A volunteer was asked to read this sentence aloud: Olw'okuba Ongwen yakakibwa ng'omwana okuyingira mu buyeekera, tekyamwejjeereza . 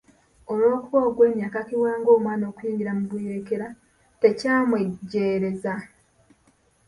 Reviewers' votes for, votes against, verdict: 2, 0, accepted